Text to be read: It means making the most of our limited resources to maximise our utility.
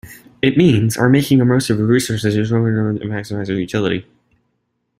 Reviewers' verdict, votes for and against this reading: rejected, 0, 2